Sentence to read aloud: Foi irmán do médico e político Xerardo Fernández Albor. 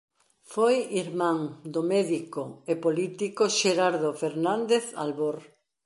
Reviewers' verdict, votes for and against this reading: accepted, 2, 0